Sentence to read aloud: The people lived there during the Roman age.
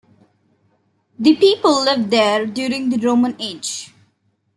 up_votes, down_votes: 1, 2